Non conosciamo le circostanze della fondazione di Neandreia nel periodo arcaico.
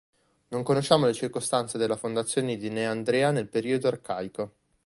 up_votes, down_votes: 1, 2